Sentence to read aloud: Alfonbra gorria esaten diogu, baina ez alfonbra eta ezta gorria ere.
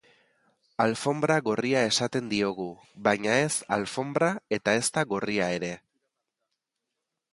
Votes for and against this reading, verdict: 2, 0, accepted